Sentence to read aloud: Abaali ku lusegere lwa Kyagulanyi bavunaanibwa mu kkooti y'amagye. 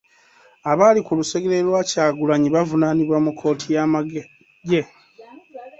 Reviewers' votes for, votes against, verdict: 1, 2, rejected